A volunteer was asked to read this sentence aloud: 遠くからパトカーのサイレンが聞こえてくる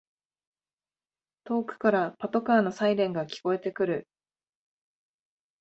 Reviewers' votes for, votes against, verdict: 2, 0, accepted